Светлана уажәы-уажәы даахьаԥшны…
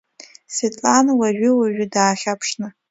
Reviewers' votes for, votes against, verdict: 2, 0, accepted